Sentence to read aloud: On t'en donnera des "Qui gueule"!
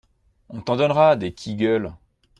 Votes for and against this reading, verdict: 2, 0, accepted